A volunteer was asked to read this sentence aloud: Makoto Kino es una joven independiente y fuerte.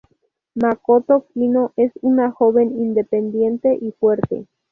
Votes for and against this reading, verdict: 2, 0, accepted